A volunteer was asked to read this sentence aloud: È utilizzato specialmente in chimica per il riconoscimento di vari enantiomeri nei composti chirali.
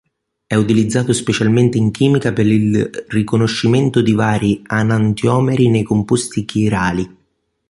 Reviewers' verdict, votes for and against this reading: rejected, 1, 2